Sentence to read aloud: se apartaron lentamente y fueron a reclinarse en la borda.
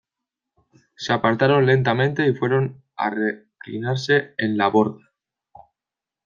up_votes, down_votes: 0, 2